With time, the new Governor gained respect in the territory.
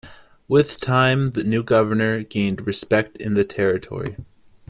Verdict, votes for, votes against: accepted, 2, 0